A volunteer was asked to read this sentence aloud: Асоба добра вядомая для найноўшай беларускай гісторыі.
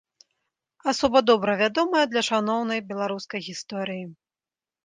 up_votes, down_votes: 0, 4